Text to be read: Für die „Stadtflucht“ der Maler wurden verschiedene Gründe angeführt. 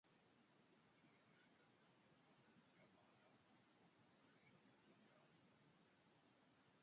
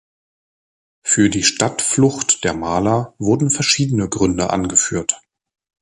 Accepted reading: second